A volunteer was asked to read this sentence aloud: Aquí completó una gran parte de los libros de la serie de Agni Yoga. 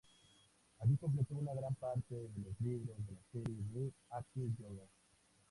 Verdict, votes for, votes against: rejected, 0, 2